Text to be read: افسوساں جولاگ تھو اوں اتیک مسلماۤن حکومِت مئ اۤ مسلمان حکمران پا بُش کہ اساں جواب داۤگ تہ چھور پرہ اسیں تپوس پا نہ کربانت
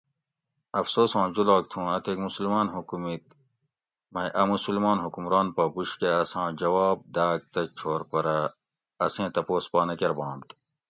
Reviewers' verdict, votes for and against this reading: accepted, 2, 0